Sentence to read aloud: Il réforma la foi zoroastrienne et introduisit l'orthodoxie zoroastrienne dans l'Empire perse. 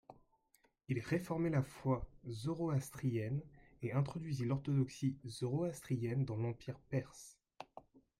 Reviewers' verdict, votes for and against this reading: rejected, 0, 2